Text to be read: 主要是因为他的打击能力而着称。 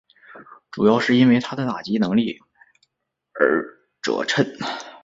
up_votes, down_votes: 4, 0